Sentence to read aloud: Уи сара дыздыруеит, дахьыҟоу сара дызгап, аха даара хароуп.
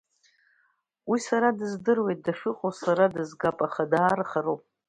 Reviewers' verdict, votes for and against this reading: accepted, 2, 0